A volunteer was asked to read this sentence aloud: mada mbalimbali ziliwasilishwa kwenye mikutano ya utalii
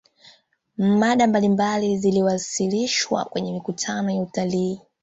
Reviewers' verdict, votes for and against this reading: rejected, 1, 2